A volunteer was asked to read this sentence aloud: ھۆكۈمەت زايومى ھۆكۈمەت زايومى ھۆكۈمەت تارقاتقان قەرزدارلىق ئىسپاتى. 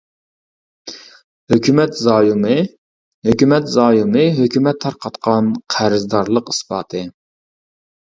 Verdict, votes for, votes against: rejected, 0, 2